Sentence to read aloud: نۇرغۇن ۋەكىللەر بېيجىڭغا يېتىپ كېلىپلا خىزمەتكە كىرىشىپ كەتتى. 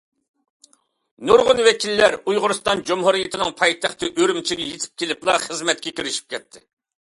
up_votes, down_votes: 0, 2